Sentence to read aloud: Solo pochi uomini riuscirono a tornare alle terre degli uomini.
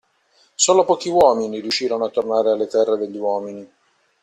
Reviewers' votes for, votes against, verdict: 2, 0, accepted